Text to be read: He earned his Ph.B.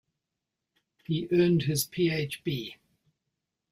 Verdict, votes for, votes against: accepted, 2, 0